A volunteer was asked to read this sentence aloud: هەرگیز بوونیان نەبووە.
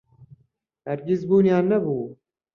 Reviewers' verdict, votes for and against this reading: rejected, 0, 2